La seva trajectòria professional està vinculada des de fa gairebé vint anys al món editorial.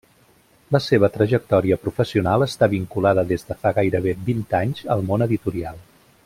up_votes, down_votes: 3, 0